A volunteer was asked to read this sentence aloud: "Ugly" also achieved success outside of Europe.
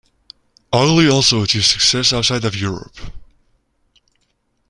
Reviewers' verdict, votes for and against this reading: rejected, 0, 2